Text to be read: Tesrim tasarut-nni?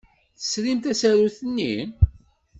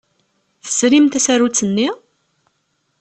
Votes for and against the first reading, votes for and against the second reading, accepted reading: 1, 2, 5, 0, second